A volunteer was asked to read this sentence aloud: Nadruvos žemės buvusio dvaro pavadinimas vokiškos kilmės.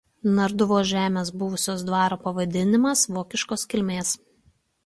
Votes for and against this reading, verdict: 0, 2, rejected